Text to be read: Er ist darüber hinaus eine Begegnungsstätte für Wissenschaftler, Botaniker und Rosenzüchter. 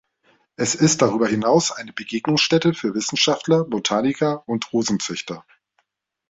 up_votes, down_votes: 1, 2